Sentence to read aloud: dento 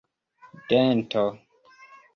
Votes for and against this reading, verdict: 2, 0, accepted